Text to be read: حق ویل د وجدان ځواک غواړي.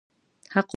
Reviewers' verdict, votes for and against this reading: rejected, 0, 2